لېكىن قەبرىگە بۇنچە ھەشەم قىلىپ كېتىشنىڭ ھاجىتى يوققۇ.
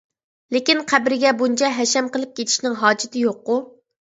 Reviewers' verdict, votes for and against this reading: accepted, 2, 0